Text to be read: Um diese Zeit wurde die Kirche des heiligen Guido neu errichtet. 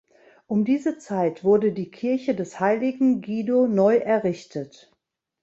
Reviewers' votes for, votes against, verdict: 3, 0, accepted